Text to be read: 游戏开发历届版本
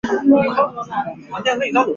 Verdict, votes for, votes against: rejected, 0, 2